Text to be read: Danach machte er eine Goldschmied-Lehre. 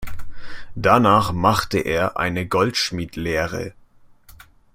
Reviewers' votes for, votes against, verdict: 2, 0, accepted